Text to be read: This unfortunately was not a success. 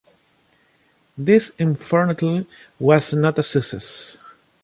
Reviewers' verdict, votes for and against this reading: rejected, 0, 2